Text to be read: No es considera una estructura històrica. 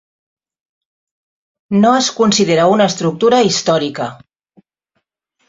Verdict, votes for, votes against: accepted, 3, 0